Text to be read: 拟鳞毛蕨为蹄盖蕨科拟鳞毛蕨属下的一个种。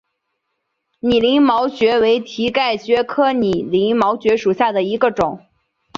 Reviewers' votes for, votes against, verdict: 3, 0, accepted